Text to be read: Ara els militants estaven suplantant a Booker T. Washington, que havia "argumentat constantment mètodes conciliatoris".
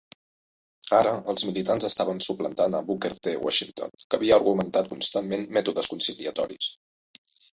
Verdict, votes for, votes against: accepted, 2, 0